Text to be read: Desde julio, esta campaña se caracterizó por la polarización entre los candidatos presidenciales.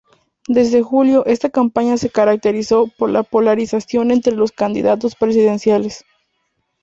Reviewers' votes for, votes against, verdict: 2, 0, accepted